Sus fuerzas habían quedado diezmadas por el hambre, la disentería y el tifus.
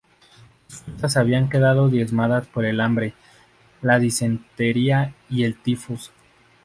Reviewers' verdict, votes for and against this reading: rejected, 0, 2